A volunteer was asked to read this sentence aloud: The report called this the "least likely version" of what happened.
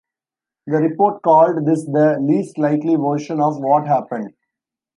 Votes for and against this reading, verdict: 2, 0, accepted